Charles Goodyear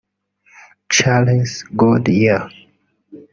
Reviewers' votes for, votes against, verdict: 0, 2, rejected